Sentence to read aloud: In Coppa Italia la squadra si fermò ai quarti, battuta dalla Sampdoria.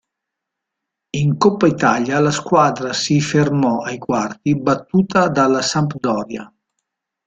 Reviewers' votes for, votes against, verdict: 3, 0, accepted